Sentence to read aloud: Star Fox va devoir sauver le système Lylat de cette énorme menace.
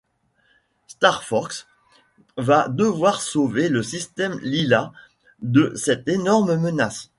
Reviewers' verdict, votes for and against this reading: rejected, 1, 2